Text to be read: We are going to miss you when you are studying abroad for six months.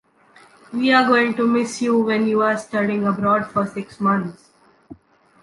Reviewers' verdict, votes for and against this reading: accepted, 2, 0